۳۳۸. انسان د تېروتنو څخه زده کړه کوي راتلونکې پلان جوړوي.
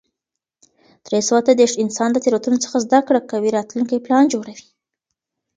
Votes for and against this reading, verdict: 0, 2, rejected